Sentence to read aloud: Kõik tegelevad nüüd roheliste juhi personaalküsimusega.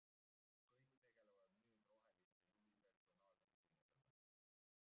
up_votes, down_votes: 0, 2